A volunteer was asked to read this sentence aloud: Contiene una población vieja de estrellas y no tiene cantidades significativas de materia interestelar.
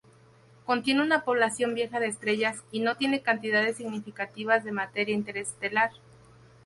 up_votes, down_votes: 4, 0